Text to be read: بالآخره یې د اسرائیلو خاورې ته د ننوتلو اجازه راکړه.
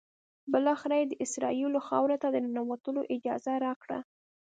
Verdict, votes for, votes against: accepted, 2, 0